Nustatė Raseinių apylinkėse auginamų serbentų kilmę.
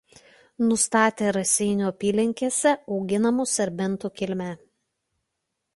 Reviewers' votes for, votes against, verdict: 2, 0, accepted